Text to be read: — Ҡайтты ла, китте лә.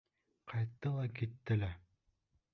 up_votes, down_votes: 1, 2